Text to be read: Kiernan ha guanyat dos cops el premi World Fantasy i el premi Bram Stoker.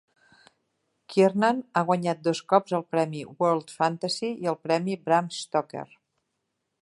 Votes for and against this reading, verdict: 0, 2, rejected